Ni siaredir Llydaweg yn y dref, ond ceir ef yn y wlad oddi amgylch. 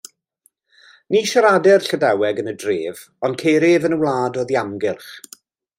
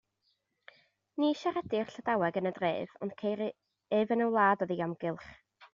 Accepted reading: first